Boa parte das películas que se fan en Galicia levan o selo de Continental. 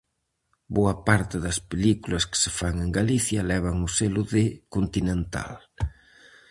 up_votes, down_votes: 4, 0